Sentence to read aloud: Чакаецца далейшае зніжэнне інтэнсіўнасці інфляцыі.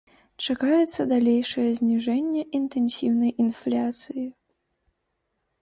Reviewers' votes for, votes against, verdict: 0, 2, rejected